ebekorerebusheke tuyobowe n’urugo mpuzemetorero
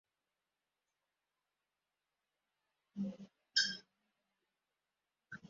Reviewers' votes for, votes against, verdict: 0, 2, rejected